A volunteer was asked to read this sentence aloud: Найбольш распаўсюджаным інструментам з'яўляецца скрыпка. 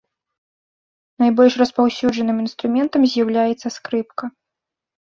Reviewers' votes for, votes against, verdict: 2, 0, accepted